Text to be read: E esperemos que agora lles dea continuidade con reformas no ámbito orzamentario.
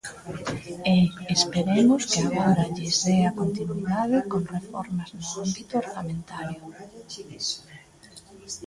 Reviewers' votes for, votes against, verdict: 2, 0, accepted